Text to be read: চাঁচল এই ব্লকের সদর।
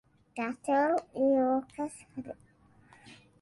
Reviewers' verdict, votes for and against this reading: rejected, 0, 2